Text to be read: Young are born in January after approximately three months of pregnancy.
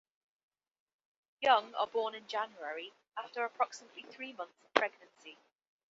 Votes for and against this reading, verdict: 2, 0, accepted